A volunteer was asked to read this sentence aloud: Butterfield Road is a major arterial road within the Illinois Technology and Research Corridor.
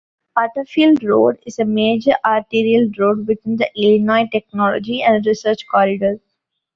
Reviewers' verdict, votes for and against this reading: accepted, 2, 0